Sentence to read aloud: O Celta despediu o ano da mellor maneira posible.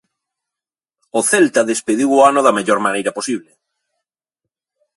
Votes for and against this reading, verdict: 2, 1, accepted